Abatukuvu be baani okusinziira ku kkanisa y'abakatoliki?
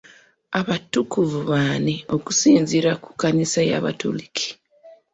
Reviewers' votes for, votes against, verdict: 1, 2, rejected